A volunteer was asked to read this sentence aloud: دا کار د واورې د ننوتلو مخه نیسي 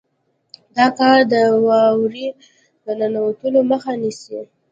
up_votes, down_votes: 2, 0